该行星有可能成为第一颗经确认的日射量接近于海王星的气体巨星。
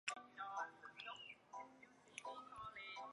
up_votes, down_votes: 0, 2